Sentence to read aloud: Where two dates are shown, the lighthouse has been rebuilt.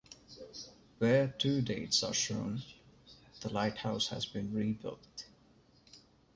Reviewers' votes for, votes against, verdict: 2, 1, accepted